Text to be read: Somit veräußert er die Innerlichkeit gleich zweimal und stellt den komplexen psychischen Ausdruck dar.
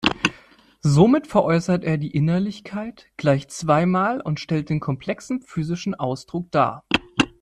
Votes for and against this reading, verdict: 1, 2, rejected